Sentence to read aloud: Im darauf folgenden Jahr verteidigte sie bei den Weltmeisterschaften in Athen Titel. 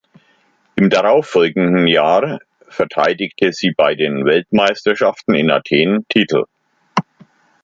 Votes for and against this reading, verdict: 2, 0, accepted